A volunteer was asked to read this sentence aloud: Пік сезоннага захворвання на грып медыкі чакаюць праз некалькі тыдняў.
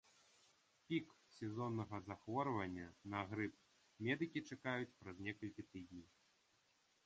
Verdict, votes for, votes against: rejected, 1, 2